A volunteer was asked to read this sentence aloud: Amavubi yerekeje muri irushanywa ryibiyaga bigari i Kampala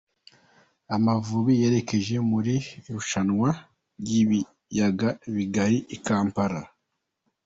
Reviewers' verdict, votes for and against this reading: accepted, 2, 0